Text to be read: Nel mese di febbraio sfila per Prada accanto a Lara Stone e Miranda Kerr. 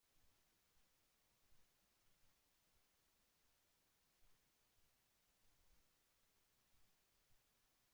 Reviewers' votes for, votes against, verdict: 0, 2, rejected